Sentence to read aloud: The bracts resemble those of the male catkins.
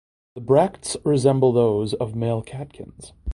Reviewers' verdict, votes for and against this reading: accepted, 2, 1